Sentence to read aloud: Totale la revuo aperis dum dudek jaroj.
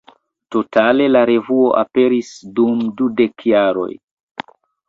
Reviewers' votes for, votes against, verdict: 2, 1, accepted